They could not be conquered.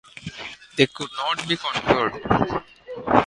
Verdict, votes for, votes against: accepted, 2, 0